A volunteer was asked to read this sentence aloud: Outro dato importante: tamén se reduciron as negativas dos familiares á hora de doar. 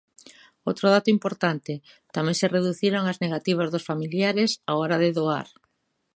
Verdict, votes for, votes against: accepted, 2, 0